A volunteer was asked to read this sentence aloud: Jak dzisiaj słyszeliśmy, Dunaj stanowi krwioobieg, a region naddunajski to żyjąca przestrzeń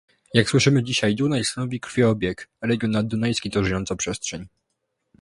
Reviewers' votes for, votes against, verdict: 0, 2, rejected